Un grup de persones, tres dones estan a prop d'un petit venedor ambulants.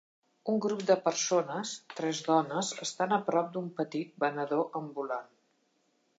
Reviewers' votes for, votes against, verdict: 0, 2, rejected